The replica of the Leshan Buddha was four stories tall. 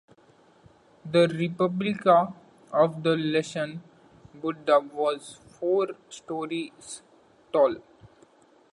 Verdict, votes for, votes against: rejected, 1, 2